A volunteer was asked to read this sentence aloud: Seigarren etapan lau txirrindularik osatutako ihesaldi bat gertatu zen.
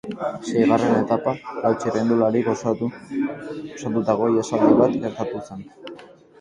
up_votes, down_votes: 2, 6